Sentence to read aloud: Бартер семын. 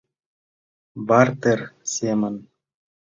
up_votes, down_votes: 2, 0